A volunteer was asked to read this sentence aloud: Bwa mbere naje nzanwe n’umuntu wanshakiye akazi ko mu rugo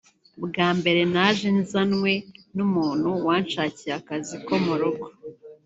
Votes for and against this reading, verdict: 1, 2, rejected